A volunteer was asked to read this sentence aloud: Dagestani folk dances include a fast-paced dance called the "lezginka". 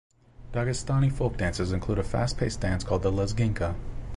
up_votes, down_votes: 2, 1